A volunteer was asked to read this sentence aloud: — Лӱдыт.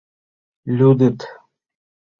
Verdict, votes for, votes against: rejected, 1, 2